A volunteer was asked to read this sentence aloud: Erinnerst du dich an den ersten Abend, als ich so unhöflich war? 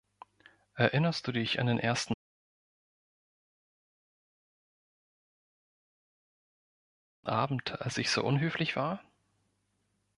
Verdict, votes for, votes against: rejected, 1, 2